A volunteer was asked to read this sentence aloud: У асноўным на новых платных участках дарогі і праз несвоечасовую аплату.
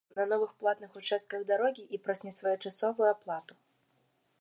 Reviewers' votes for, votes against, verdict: 1, 2, rejected